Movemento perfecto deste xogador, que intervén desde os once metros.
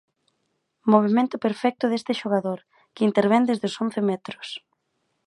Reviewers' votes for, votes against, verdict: 2, 0, accepted